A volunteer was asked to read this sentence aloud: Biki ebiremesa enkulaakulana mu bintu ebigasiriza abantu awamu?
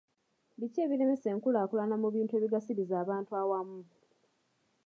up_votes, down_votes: 2, 0